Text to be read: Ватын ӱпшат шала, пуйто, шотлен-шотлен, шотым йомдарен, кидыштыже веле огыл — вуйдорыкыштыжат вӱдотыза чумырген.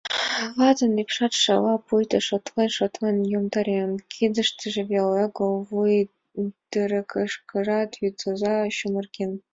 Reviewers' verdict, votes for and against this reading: rejected, 0, 2